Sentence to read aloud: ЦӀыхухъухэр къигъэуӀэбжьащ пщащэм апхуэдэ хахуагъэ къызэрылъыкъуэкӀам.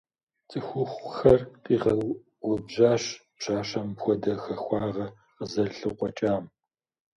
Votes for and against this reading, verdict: 1, 2, rejected